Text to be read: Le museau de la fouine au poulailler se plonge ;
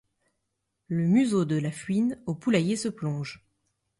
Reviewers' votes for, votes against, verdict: 1, 2, rejected